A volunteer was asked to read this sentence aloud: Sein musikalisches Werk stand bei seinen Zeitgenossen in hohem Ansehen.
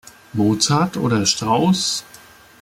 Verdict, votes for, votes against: rejected, 0, 2